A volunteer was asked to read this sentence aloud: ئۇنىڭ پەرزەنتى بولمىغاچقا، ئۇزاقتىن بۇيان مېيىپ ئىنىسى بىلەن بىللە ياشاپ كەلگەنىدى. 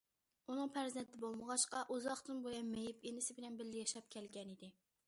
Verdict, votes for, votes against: accepted, 2, 0